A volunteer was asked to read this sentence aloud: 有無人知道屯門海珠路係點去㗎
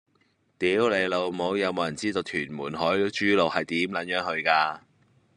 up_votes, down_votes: 1, 2